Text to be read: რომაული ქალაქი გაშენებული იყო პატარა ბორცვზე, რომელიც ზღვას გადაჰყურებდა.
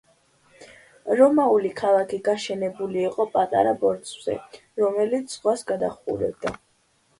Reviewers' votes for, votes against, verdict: 2, 0, accepted